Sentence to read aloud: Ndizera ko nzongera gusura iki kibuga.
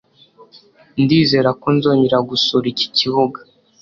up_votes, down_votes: 2, 0